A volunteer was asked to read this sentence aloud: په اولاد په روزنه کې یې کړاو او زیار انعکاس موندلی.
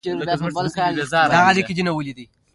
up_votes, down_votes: 1, 2